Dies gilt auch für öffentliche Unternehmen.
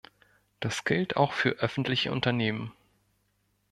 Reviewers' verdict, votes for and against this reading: rejected, 1, 2